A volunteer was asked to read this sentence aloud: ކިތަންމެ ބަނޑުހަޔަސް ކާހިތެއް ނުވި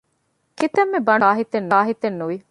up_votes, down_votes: 0, 2